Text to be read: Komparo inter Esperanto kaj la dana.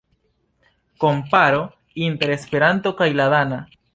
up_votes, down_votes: 2, 0